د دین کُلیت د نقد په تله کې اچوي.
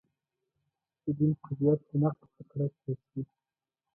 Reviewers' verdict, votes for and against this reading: rejected, 0, 2